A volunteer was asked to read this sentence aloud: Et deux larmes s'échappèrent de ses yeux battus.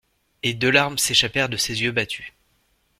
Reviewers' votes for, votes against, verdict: 2, 0, accepted